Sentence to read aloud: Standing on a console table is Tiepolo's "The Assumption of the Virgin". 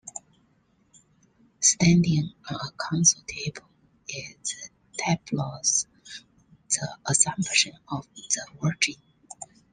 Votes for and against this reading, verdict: 1, 2, rejected